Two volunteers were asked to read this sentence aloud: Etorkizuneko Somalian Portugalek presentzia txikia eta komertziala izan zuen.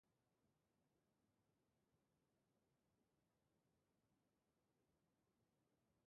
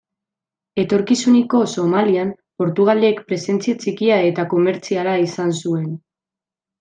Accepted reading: second